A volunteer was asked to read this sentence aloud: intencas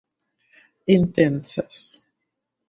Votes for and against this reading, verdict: 0, 2, rejected